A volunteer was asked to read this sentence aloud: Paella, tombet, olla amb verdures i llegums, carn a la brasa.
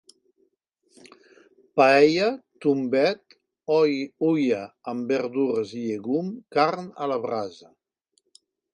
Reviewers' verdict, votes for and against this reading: rejected, 1, 2